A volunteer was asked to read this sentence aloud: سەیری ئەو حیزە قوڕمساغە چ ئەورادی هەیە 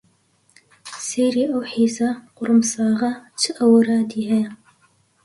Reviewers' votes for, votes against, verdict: 2, 0, accepted